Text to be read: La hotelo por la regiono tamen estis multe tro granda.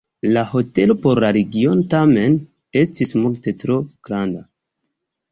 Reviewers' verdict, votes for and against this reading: rejected, 0, 2